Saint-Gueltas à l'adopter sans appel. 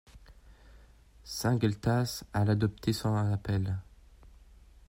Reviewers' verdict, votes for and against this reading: rejected, 1, 3